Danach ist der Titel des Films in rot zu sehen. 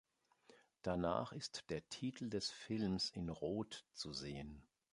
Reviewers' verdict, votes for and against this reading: accepted, 2, 0